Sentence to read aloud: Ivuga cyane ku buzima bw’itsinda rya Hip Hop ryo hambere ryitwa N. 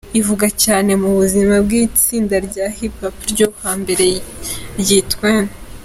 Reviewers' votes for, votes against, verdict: 1, 2, rejected